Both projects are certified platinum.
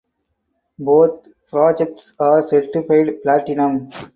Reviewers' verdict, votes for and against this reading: rejected, 2, 2